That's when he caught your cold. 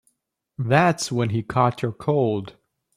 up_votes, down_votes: 2, 0